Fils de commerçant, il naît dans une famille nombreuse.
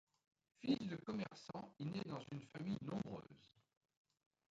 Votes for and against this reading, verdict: 2, 0, accepted